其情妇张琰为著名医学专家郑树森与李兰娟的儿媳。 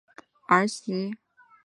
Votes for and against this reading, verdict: 0, 2, rejected